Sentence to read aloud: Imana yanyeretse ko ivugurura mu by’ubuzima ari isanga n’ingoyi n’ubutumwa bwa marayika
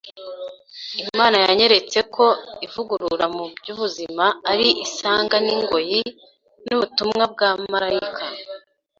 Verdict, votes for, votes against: accepted, 2, 0